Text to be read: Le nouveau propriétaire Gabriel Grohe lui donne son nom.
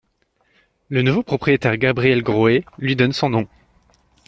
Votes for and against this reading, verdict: 2, 0, accepted